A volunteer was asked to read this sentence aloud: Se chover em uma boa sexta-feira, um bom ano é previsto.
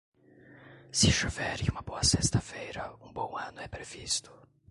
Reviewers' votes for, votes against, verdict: 2, 0, accepted